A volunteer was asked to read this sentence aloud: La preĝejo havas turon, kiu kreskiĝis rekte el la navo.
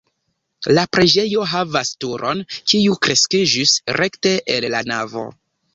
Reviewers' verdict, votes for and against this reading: accepted, 2, 1